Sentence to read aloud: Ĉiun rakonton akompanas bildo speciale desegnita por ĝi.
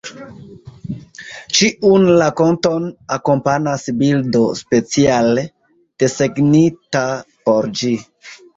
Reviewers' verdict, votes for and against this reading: accepted, 2, 1